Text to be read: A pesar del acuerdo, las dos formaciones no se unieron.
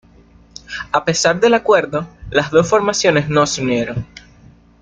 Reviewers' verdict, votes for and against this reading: accepted, 2, 1